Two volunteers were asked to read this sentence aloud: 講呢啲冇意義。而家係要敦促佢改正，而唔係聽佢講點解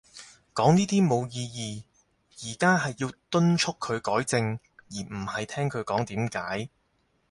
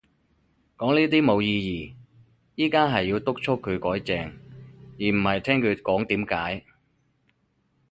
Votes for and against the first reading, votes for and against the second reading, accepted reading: 4, 0, 2, 2, first